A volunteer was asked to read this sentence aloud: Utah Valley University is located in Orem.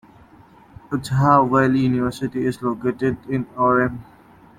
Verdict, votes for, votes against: accepted, 2, 1